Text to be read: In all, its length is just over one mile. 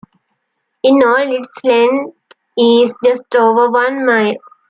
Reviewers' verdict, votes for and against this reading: accepted, 2, 1